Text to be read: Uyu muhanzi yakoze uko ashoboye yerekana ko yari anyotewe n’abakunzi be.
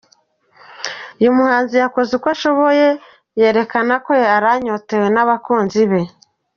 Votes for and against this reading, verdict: 1, 2, rejected